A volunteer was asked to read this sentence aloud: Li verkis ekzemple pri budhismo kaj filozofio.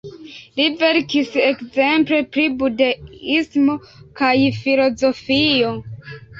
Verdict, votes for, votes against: rejected, 3, 4